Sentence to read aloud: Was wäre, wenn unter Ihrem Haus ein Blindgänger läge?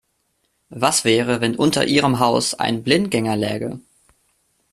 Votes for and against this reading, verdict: 2, 0, accepted